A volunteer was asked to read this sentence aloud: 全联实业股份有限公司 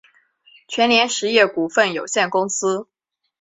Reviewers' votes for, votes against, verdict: 4, 2, accepted